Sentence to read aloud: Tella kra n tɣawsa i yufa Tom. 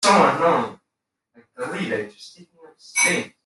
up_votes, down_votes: 1, 2